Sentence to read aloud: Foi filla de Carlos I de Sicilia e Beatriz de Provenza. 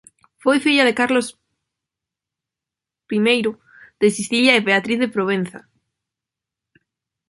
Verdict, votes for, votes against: rejected, 0, 2